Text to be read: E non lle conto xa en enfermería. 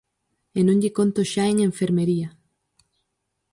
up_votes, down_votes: 4, 0